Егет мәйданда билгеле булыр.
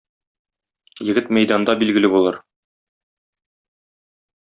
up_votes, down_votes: 2, 0